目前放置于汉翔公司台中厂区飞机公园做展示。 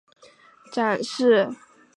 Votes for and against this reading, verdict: 0, 2, rejected